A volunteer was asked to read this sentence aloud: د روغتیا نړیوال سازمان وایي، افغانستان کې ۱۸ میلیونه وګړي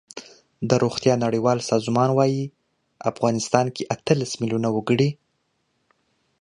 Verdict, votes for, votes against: rejected, 0, 2